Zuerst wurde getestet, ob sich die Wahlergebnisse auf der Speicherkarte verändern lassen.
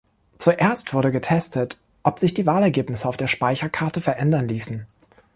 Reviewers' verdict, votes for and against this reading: rejected, 1, 2